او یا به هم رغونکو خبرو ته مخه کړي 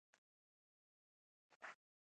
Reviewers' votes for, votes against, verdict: 0, 2, rejected